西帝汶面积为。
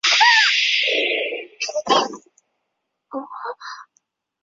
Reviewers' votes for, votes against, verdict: 0, 4, rejected